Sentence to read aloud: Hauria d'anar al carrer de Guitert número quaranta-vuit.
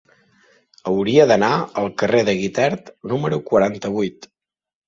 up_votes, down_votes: 3, 0